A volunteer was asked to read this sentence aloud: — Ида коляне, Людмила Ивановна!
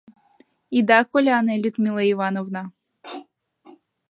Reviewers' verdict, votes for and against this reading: accepted, 2, 0